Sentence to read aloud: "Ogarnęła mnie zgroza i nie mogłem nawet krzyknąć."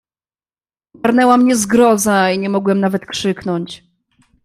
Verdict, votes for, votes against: rejected, 1, 2